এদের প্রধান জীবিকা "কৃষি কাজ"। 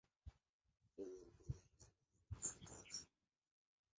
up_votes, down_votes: 0, 2